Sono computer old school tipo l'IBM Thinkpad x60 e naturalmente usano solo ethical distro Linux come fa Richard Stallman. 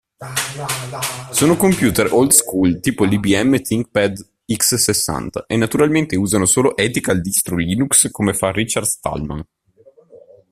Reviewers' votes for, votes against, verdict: 0, 2, rejected